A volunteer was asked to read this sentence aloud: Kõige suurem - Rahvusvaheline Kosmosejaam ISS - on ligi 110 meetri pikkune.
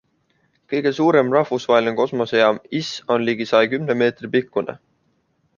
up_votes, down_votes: 0, 2